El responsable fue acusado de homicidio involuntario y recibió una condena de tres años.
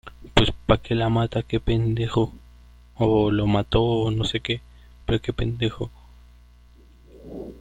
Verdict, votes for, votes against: rejected, 0, 2